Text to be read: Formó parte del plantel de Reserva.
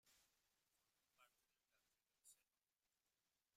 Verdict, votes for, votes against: rejected, 0, 2